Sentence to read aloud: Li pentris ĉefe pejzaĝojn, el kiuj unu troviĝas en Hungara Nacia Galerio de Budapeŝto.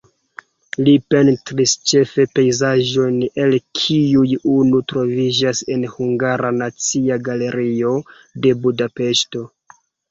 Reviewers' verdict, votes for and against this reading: accepted, 2, 1